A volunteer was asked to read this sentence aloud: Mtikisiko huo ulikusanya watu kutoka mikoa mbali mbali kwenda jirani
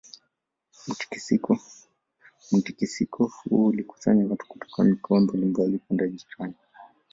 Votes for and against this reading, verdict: 1, 2, rejected